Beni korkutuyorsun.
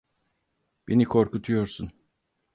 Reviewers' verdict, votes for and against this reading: accepted, 4, 0